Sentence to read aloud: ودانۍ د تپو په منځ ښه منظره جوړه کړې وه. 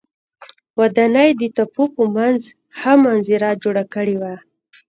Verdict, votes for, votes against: accepted, 2, 0